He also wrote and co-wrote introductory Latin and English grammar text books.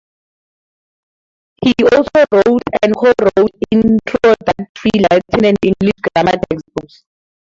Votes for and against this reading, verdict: 2, 0, accepted